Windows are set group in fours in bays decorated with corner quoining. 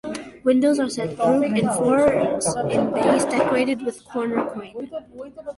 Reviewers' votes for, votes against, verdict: 2, 0, accepted